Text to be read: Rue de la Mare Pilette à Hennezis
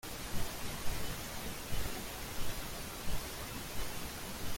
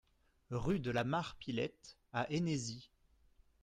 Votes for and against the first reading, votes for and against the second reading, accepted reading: 0, 2, 2, 0, second